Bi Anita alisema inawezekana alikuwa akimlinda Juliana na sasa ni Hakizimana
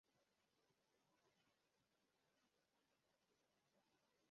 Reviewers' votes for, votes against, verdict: 0, 2, rejected